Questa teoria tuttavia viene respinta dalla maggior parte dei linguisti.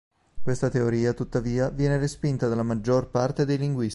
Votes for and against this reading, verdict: 0, 2, rejected